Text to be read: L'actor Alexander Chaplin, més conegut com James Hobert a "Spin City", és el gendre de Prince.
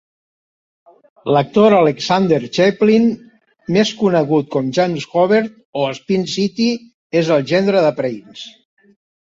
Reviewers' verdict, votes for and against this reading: rejected, 1, 2